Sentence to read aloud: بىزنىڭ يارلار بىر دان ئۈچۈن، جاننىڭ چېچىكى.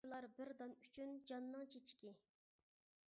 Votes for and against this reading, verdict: 0, 2, rejected